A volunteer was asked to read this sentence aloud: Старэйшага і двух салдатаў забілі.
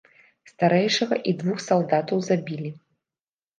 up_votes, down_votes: 2, 0